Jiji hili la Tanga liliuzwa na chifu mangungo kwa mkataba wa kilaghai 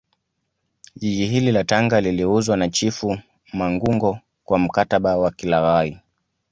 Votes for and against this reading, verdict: 2, 1, accepted